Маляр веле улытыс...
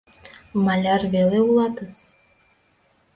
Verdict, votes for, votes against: rejected, 1, 2